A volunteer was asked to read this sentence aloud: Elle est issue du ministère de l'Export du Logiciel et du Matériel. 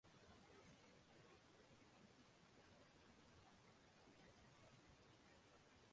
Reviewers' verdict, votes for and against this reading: rejected, 0, 2